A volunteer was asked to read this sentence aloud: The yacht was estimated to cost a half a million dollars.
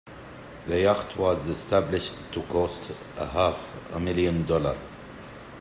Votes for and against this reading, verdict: 0, 2, rejected